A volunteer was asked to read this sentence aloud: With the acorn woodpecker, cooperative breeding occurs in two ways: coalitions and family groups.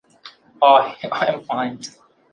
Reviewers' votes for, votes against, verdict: 0, 2, rejected